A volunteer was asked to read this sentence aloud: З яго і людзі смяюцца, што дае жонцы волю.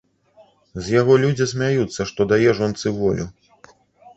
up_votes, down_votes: 1, 2